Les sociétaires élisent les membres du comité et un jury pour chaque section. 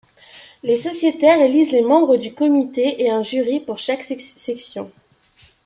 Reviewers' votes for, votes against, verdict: 1, 2, rejected